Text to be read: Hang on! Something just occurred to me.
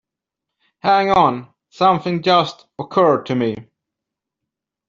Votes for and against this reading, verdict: 2, 0, accepted